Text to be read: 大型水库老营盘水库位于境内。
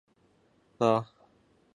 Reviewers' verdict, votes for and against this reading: rejected, 0, 3